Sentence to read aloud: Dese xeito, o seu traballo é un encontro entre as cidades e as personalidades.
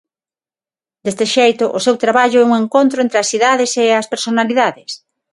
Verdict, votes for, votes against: rejected, 3, 3